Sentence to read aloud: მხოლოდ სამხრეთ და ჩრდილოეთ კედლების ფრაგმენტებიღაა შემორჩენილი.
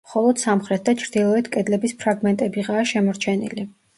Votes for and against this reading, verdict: 0, 2, rejected